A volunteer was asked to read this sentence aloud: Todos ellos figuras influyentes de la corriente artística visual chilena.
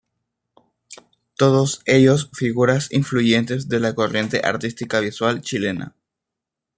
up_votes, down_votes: 2, 0